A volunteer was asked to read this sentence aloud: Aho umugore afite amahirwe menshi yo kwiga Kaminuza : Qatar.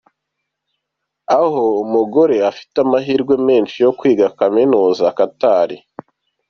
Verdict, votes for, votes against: rejected, 1, 2